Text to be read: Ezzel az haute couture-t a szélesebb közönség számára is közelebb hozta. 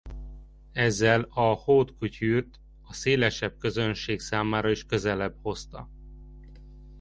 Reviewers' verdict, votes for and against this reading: rejected, 0, 2